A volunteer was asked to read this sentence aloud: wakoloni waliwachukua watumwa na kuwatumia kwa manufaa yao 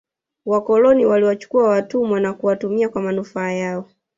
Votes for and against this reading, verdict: 1, 2, rejected